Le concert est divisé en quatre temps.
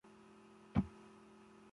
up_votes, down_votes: 0, 2